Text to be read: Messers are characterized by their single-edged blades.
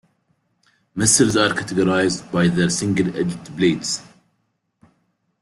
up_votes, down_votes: 2, 1